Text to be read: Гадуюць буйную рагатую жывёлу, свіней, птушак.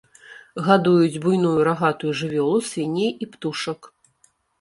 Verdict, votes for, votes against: rejected, 1, 2